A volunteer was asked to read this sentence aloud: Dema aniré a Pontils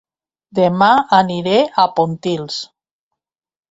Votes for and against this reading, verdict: 4, 0, accepted